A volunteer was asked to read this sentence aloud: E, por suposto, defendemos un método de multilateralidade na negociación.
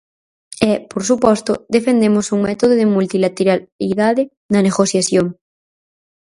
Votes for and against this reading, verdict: 0, 4, rejected